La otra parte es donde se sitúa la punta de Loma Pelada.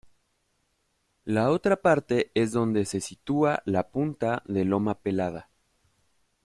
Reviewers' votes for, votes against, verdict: 3, 0, accepted